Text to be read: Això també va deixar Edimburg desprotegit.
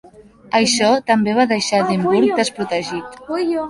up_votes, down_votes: 0, 2